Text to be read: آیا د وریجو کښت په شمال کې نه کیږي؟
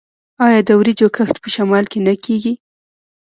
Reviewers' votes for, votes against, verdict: 0, 2, rejected